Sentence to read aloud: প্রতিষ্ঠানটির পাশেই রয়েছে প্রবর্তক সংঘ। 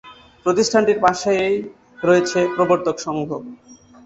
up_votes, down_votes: 2, 0